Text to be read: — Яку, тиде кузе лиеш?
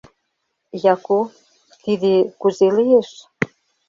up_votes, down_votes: 3, 0